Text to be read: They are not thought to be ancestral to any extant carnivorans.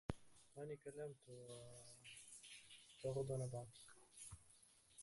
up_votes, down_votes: 0, 2